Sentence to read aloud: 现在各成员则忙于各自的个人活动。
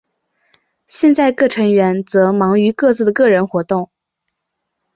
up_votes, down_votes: 7, 1